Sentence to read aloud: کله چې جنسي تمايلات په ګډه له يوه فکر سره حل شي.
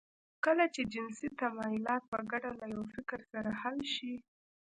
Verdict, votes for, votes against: accepted, 2, 0